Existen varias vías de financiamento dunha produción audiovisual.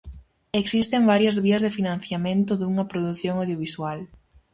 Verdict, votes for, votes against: accepted, 4, 0